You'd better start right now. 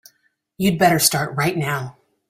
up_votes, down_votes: 3, 0